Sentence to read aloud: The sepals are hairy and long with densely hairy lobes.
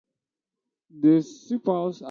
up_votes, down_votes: 0, 2